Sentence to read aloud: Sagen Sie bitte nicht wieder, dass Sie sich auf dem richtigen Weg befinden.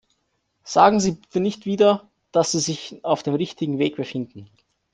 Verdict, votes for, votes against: rejected, 0, 2